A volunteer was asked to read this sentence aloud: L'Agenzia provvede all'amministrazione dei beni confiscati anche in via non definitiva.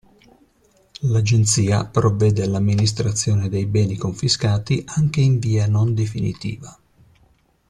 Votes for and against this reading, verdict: 2, 0, accepted